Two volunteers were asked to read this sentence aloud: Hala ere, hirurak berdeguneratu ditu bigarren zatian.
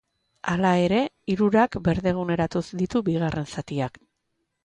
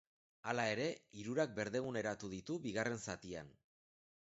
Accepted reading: second